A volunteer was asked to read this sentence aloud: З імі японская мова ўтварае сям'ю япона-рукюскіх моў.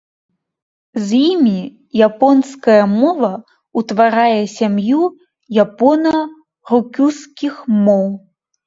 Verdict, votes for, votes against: accepted, 3, 0